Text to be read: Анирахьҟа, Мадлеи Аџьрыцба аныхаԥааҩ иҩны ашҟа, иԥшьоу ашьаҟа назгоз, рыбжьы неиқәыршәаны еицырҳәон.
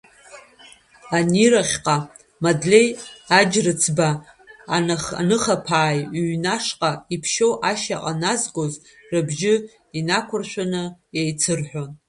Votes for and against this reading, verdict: 0, 2, rejected